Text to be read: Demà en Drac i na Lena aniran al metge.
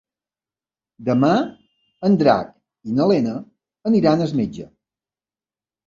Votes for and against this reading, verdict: 1, 2, rejected